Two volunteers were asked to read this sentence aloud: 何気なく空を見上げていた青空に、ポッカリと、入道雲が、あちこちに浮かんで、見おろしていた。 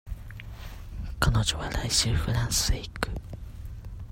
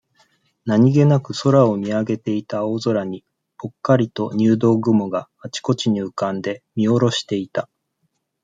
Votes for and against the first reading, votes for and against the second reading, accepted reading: 0, 2, 2, 0, second